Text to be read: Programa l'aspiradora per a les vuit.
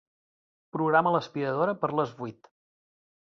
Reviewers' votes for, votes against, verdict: 2, 0, accepted